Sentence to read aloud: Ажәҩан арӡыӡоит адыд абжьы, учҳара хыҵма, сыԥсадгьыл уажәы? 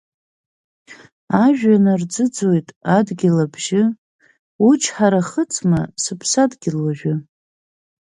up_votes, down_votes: 2, 4